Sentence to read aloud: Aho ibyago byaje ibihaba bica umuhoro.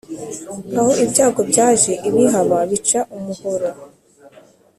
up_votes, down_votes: 2, 0